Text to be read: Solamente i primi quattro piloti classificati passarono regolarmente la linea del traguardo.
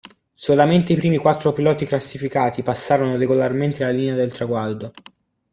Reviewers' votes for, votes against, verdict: 1, 2, rejected